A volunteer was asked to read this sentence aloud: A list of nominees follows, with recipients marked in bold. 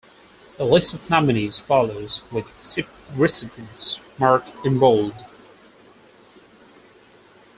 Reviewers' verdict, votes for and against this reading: rejected, 2, 4